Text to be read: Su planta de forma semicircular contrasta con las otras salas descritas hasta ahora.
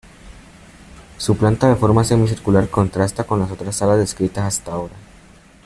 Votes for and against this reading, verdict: 2, 0, accepted